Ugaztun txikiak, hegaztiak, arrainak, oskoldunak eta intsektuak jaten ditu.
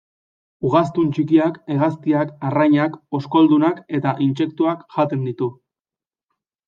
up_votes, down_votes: 2, 0